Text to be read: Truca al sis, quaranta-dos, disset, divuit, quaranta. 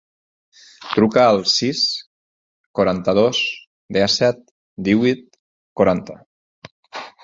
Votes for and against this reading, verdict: 0, 4, rejected